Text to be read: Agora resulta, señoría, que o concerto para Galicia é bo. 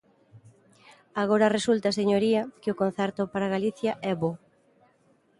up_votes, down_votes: 2, 0